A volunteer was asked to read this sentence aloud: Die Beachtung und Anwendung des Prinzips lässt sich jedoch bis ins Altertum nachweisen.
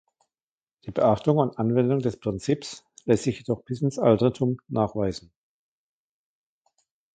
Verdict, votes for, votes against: accepted, 2, 1